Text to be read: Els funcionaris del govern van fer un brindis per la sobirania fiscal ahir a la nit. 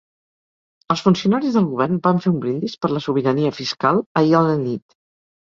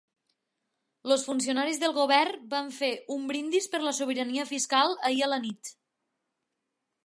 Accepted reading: first